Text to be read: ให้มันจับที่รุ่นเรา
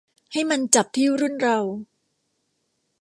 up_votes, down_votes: 2, 0